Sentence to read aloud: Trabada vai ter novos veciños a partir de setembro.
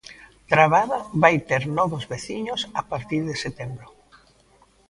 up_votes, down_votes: 1, 2